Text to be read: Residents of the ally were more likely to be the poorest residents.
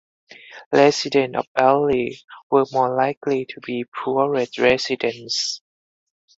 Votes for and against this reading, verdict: 0, 4, rejected